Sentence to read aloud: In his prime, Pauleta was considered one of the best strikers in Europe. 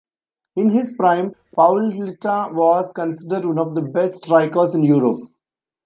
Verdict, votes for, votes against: rejected, 0, 2